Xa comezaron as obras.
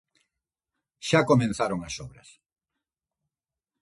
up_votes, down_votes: 0, 2